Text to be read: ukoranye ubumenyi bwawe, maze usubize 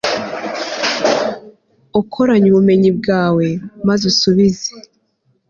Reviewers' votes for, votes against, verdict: 2, 0, accepted